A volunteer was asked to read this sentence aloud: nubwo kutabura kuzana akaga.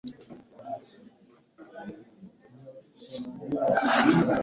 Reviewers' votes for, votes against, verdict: 1, 2, rejected